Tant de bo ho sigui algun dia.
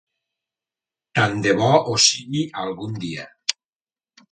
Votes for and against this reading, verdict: 3, 0, accepted